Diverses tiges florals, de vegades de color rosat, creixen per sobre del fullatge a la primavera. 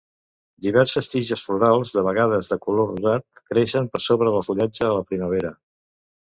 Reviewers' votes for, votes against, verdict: 2, 0, accepted